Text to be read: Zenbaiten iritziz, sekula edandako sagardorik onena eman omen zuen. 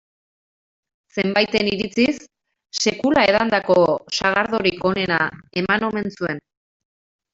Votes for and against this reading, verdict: 0, 2, rejected